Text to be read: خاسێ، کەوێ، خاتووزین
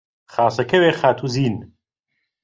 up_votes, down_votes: 1, 2